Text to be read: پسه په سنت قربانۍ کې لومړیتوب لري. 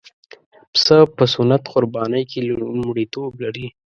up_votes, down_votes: 2, 0